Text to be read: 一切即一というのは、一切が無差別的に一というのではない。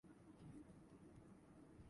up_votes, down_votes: 0, 2